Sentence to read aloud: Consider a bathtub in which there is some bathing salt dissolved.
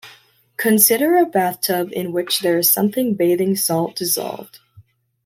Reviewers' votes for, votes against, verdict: 0, 2, rejected